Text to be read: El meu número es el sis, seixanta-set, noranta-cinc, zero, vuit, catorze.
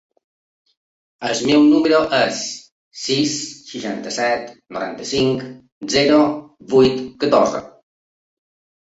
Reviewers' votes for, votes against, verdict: 0, 2, rejected